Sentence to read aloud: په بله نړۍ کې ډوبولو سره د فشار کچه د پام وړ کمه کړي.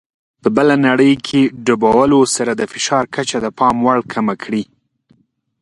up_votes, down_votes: 2, 0